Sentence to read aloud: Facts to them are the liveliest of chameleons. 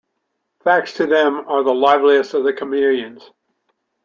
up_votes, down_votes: 0, 2